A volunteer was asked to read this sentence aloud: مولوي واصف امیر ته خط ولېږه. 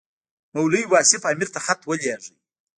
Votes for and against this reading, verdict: 1, 2, rejected